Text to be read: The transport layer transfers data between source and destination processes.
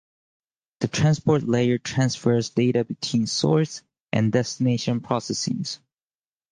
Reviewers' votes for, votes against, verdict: 0, 2, rejected